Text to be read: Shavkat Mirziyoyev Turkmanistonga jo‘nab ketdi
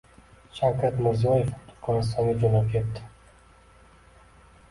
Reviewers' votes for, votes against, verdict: 2, 1, accepted